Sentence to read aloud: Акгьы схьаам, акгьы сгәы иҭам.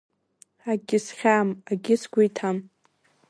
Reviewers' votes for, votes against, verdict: 1, 2, rejected